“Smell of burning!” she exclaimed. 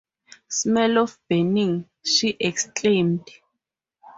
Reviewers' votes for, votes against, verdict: 4, 2, accepted